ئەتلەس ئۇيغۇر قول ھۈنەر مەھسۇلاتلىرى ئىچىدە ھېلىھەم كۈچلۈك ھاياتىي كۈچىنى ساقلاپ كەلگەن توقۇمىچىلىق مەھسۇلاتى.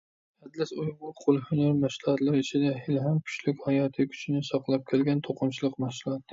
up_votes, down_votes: 1, 2